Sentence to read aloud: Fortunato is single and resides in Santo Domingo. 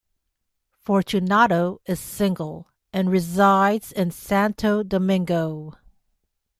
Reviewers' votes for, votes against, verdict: 2, 0, accepted